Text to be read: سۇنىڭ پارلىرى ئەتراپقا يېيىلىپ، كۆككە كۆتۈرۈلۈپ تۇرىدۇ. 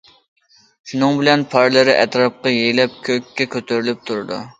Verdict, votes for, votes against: rejected, 1, 2